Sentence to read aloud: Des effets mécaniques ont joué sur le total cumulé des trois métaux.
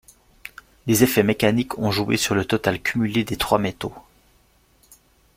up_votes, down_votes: 2, 0